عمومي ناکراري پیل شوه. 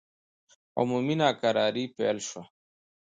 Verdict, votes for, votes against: accepted, 2, 0